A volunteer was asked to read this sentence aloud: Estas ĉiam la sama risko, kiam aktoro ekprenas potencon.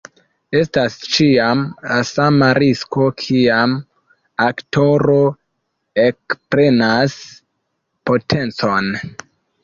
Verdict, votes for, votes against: rejected, 1, 2